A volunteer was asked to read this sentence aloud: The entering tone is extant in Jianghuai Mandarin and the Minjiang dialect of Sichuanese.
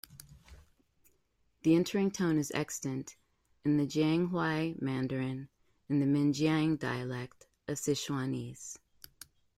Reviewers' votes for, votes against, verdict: 1, 2, rejected